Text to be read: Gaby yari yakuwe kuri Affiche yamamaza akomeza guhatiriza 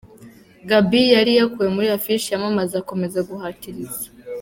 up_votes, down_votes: 2, 0